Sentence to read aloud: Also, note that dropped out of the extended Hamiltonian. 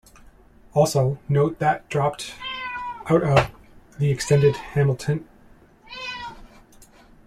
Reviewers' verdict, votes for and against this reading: rejected, 1, 2